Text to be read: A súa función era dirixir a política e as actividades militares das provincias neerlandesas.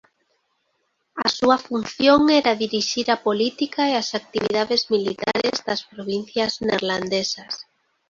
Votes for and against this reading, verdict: 2, 0, accepted